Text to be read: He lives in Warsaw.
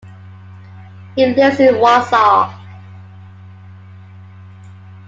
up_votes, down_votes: 2, 1